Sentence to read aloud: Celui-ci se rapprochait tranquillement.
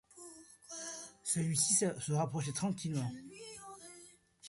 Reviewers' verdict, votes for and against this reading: rejected, 0, 2